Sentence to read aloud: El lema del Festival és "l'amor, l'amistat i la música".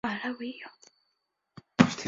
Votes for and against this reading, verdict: 0, 3, rejected